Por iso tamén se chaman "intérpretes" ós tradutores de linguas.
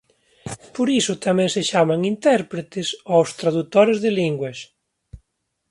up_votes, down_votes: 2, 0